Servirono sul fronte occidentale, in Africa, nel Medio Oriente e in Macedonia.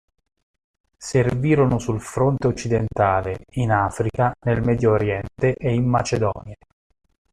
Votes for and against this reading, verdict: 2, 0, accepted